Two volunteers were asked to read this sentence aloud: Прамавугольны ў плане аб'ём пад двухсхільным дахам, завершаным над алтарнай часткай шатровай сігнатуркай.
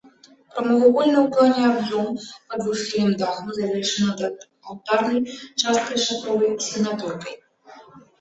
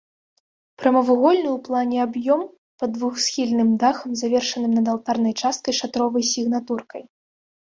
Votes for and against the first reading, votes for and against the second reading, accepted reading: 0, 2, 2, 0, second